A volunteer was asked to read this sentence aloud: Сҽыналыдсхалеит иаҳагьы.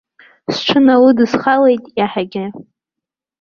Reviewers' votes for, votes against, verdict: 2, 0, accepted